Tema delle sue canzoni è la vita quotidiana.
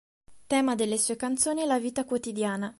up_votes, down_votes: 3, 0